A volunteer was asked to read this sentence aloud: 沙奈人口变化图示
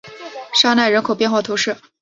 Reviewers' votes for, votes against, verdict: 2, 0, accepted